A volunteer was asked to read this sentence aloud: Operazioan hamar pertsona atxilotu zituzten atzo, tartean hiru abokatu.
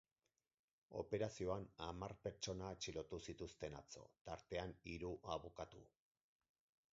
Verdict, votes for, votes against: rejected, 2, 4